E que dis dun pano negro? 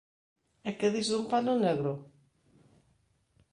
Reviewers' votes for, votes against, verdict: 2, 0, accepted